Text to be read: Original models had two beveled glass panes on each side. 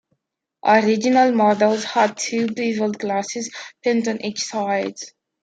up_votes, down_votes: 0, 2